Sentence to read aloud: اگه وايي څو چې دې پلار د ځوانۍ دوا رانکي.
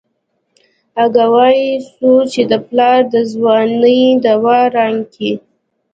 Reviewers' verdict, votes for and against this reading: accepted, 2, 0